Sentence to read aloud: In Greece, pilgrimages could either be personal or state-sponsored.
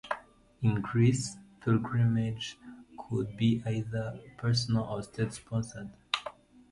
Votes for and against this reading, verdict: 0, 2, rejected